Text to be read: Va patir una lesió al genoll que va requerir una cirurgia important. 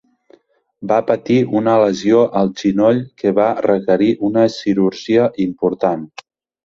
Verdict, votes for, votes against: rejected, 0, 4